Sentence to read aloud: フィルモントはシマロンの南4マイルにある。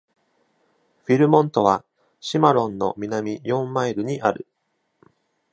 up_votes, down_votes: 0, 2